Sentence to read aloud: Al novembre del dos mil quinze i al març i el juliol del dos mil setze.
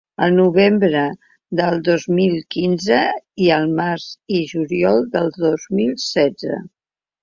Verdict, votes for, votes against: rejected, 3, 4